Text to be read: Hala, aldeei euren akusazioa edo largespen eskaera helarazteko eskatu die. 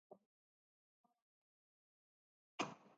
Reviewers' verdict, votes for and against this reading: rejected, 0, 4